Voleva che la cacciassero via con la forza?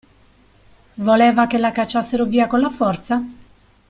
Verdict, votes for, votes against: accepted, 2, 0